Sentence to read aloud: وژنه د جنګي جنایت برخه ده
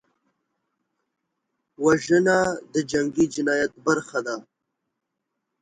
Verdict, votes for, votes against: accepted, 2, 0